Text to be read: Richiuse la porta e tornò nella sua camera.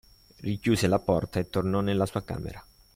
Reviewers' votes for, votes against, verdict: 3, 0, accepted